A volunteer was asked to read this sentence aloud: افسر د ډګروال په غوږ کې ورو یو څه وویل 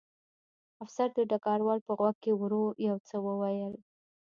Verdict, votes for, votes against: accepted, 2, 0